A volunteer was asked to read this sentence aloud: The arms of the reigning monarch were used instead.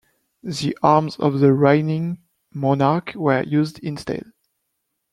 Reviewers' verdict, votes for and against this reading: rejected, 1, 2